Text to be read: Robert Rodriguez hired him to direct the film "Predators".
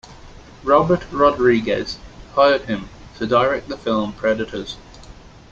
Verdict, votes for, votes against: accepted, 2, 0